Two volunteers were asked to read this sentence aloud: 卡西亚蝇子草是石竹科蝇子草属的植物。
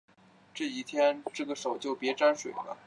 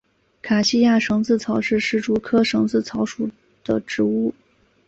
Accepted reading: second